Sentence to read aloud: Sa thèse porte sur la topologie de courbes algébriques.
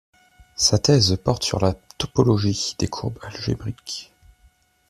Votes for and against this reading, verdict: 0, 2, rejected